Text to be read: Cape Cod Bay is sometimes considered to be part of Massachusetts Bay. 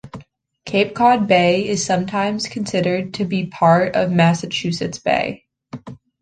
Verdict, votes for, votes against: accepted, 2, 0